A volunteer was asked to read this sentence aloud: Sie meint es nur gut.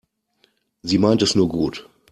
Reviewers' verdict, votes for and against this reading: accepted, 2, 0